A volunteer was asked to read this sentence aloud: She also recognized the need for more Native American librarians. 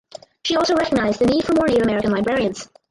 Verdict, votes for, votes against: rejected, 0, 4